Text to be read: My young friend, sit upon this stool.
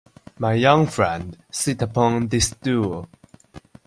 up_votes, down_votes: 2, 0